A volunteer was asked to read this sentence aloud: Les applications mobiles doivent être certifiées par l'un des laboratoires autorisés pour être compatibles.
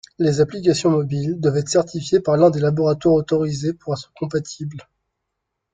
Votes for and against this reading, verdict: 1, 2, rejected